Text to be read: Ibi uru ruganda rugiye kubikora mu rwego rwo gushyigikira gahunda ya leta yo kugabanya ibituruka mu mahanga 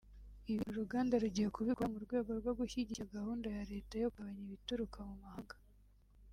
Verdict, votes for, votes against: accepted, 2, 0